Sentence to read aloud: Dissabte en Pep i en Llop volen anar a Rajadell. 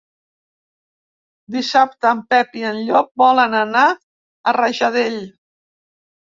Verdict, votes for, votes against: accepted, 3, 0